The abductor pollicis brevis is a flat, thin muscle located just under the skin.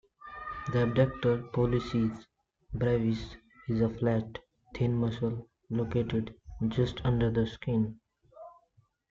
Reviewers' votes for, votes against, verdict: 2, 1, accepted